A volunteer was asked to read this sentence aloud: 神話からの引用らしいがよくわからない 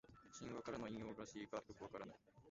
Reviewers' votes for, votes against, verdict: 1, 2, rejected